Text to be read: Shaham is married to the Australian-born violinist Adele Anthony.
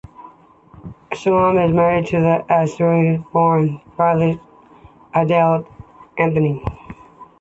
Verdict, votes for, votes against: rejected, 0, 2